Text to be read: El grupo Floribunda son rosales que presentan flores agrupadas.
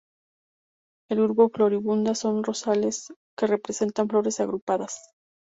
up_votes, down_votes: 0, 2